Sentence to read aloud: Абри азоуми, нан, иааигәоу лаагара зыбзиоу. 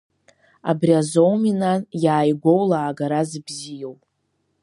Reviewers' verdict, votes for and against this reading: accepted, 2, 0